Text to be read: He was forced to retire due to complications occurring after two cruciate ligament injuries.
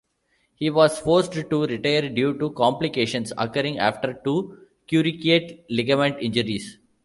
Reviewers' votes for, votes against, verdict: 1, 2, rejected